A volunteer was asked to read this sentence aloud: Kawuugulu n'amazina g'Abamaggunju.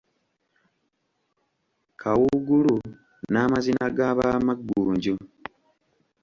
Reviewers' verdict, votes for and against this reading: accepted, 2, 1